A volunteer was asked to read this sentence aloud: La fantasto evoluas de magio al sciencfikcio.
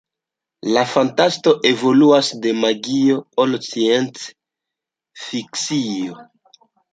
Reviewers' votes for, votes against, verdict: 1, 2, rejected